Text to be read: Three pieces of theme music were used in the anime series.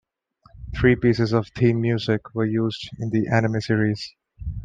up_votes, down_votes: 2, 0